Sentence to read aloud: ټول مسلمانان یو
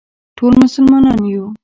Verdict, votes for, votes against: rejected, 0, 2